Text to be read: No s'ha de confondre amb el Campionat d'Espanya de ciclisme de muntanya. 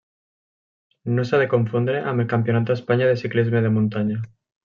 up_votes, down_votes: 3, 0